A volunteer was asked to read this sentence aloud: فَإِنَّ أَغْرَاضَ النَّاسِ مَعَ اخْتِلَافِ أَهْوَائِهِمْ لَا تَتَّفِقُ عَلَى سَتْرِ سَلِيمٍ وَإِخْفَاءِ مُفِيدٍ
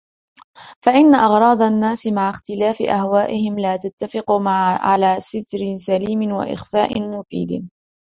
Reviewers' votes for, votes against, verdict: 1, 2, rejected